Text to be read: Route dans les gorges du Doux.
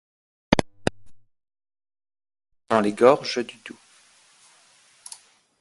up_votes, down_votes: 0, 2